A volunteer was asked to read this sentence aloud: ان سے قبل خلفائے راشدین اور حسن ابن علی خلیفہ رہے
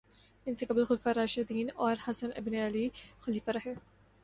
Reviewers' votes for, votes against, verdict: 2, 0, accepted